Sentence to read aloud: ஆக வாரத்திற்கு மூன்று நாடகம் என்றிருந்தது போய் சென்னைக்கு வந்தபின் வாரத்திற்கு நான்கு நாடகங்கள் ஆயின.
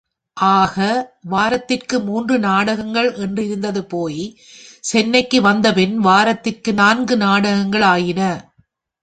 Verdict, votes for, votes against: rejected, 1, 4